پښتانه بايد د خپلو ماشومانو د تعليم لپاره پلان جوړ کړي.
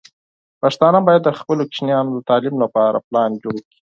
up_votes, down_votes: 0, 4